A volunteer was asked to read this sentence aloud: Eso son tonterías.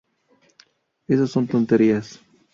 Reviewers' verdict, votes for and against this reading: accepted, 4, 0